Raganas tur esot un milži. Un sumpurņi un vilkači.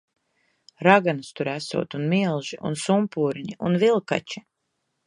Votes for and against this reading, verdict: 1, 2, rejected